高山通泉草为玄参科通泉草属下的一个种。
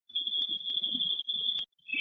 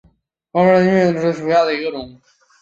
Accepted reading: second